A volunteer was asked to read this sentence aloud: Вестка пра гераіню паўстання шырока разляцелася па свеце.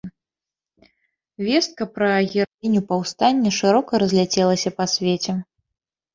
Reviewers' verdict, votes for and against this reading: rejected, 1, 3